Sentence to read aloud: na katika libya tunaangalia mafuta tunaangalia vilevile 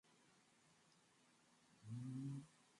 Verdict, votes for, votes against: rejected, 0, 4